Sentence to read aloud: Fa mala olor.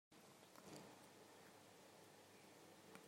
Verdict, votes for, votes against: rejected, 0, 2